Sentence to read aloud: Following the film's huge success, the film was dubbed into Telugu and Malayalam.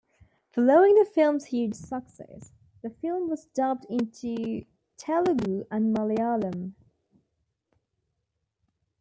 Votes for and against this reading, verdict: 0, 2, rejected